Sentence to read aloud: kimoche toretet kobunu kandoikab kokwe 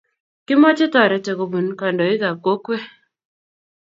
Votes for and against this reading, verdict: 2, 0, accepted